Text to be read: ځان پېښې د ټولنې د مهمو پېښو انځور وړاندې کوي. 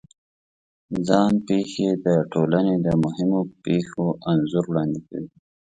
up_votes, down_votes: 4, 0